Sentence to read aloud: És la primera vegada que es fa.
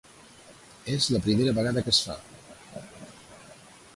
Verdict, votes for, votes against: accepted, 2, 0